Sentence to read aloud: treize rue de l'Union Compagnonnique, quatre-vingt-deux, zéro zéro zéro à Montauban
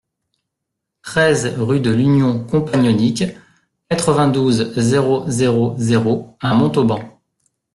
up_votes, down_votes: 0, 2